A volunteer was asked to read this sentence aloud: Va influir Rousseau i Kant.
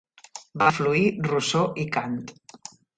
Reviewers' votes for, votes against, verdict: 0, 2, rejected